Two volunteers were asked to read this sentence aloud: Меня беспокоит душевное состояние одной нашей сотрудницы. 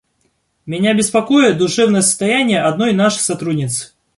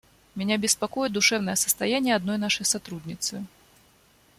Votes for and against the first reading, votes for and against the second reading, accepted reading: 1, 2, 2, 0, second